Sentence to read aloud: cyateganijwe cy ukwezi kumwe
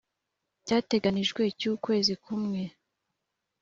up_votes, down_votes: 2, 0